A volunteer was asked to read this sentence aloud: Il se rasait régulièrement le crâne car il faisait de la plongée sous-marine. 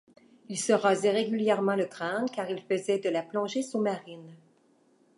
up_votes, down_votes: 2, 0